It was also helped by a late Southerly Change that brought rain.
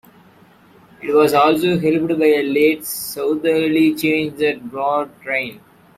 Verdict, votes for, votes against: accepted, 2, 0